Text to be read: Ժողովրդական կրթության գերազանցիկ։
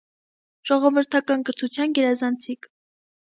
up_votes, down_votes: 2, 0